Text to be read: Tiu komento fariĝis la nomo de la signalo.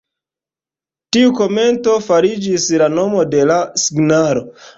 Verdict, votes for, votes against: rejected, 1, 3